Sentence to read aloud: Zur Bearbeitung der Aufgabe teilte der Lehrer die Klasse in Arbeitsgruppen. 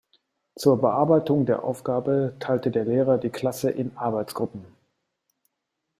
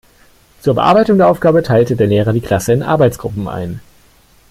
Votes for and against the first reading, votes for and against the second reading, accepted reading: 2, 0, 1, 3, first